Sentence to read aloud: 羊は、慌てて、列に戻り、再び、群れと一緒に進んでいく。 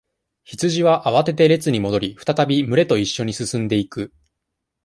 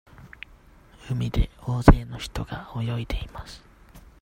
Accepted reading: first